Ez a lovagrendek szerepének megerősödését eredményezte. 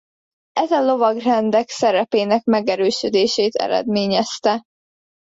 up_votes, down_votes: 2, 0